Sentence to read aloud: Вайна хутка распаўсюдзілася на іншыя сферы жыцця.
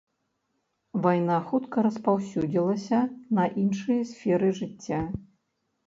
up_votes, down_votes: 1, 2